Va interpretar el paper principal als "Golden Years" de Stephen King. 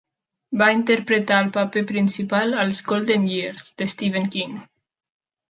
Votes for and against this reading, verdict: 0, 2, rejected